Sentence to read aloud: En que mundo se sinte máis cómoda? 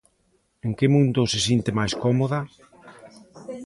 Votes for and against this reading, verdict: 2, 0, accepted